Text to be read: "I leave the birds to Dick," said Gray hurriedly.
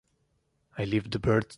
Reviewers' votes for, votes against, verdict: 0, 2, rejected